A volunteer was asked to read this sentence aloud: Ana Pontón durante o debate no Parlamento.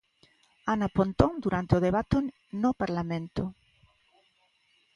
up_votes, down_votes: 1, 2